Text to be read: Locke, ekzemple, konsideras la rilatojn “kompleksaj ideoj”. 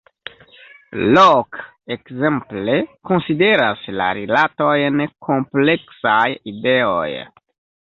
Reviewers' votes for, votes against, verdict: 0, 2, rejected